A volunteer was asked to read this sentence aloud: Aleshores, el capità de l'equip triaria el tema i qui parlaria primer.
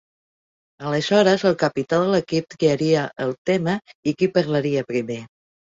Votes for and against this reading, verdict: 4, 1, accepted